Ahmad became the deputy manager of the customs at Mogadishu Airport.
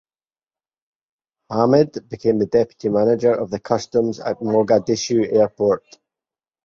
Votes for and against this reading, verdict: 2, 2, rejected